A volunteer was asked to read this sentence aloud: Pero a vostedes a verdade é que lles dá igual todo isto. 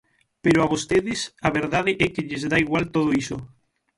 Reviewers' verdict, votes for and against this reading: rejected, 0, 6